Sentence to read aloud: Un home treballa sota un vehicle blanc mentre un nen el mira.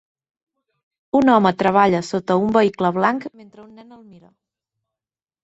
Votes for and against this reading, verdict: 1, 2, rejected